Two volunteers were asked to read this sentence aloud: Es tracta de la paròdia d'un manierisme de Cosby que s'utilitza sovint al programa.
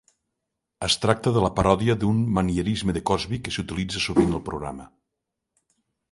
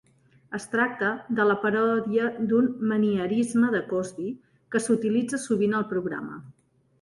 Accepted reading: first